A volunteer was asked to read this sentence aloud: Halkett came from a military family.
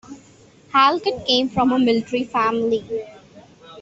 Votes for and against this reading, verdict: 2, 0, accepted